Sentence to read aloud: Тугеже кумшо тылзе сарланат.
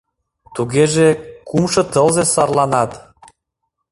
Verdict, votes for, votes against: accepted, 2, 0